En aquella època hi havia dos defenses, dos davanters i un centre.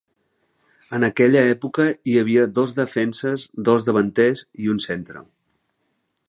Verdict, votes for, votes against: accepted, 2, 0